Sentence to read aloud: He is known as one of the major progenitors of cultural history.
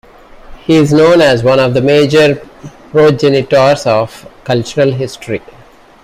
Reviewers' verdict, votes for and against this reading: accepted, 2, 0